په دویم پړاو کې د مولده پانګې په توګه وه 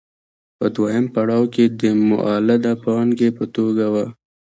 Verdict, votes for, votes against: rejected, 1, 2